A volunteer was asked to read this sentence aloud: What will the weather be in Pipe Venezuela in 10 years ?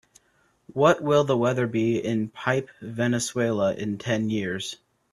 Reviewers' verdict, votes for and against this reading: rejected, 0, 2